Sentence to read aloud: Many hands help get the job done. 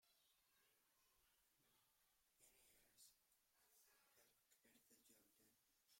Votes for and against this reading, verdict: 0, 2, rejected